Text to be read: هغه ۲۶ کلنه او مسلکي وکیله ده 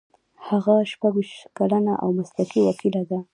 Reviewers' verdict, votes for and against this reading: rejected, 0, 2